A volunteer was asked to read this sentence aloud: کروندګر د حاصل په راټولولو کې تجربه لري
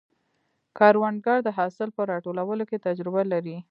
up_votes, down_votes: 0, 2